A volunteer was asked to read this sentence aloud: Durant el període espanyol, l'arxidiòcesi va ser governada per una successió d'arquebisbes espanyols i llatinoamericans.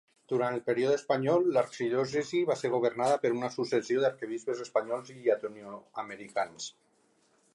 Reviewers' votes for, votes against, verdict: 2, 1, accepted